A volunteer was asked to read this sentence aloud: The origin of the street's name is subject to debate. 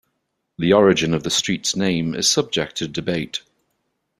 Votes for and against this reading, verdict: 2, 0, accepted